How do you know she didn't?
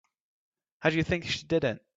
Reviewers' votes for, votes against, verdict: 0, 3, rejected